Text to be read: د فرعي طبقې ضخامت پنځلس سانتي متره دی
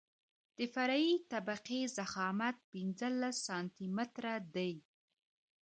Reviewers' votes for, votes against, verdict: 0, 2, rejected